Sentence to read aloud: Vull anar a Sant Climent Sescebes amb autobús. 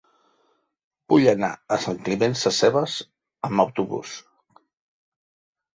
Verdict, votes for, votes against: accepted, 3, 0